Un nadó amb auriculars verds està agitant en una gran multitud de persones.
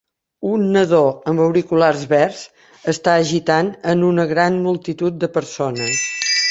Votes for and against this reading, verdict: 0, 3, rejected